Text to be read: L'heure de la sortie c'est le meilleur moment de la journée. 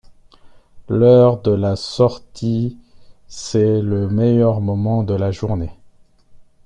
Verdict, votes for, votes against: accepted, 2, 0